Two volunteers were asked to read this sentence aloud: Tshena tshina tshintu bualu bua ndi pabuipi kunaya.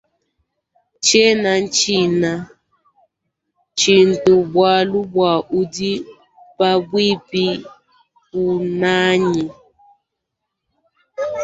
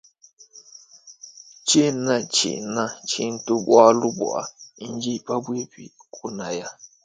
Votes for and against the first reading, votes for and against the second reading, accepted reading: 1, 2, 2, 0, second